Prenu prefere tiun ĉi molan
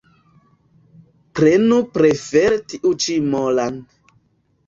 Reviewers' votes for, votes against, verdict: 1, 2, rejected